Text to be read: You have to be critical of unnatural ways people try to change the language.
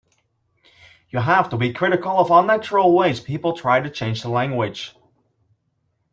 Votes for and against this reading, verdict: 3, 0, accepted